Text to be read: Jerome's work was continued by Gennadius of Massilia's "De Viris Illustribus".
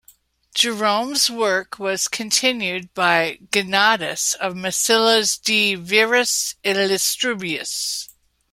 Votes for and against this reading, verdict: 2, 0, accepted